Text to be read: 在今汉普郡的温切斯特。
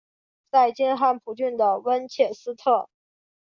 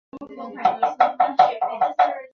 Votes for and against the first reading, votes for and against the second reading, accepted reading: 7, 0, 0, 2, first